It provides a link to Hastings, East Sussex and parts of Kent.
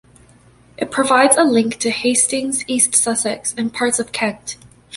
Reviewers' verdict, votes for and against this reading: accepted, 2, 0